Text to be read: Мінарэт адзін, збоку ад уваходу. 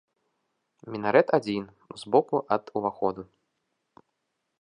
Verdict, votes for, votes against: accepted, 2, 0